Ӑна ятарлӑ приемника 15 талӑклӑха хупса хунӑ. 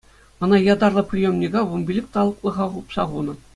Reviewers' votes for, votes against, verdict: 0, 2, rejected